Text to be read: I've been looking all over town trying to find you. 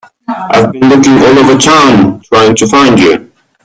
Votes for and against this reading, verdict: 0, 2, rejected